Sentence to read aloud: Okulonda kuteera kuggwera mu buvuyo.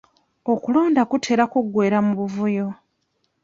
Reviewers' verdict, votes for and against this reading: accepted, 2, 0